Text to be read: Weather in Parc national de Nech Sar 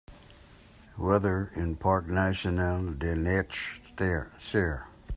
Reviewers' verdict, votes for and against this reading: rejected, 1, 2